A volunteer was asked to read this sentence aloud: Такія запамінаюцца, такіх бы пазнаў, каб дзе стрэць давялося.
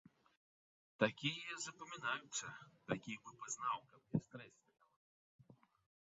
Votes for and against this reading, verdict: 0, 3, rejected